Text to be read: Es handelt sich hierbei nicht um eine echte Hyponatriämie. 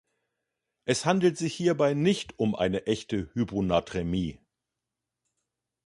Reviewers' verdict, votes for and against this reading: rejected, 0, 2